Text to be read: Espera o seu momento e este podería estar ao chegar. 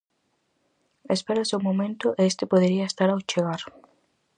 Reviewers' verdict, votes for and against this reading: accepted, 4, 0